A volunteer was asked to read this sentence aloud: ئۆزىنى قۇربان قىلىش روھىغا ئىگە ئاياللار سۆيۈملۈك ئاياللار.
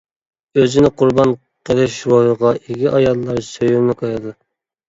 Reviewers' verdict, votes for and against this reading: rejected, 0, 2